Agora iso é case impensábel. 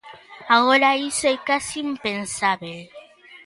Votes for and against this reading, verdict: 2, 0, accepted